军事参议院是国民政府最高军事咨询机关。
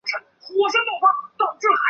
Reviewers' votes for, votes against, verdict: 2, 5, rejected